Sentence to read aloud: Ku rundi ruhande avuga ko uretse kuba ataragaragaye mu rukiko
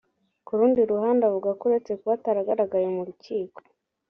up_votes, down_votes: 2, 0